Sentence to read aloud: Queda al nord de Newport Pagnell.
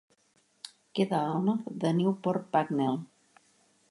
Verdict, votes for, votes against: rejected, 1, 2